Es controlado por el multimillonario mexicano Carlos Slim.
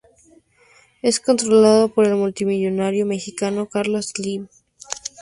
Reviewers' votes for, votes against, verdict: 2, 4, rejected